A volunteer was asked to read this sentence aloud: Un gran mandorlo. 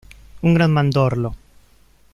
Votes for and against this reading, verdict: 0, 2, rejected